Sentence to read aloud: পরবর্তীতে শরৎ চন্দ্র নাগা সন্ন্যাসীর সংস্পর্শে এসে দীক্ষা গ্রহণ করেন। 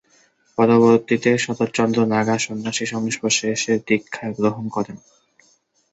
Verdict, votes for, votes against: rejected, 2, 4